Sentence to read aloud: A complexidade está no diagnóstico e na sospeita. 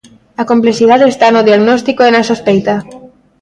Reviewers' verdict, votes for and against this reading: rejected, 1, 2